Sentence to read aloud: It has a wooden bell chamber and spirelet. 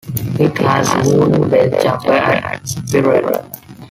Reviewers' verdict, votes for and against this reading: rejected, 0, 2